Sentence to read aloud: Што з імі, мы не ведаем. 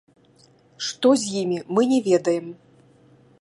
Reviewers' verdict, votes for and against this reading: rejected, 1, 2